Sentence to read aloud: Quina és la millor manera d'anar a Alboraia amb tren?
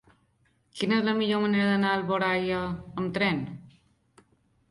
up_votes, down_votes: 2, 0